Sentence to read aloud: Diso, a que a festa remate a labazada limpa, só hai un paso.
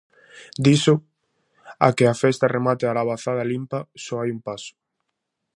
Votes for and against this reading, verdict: 2, 0, accepted